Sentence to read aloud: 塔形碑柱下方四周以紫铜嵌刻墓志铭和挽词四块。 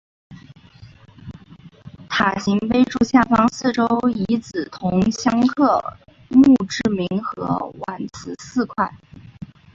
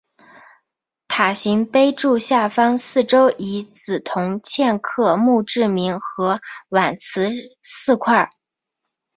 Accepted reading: second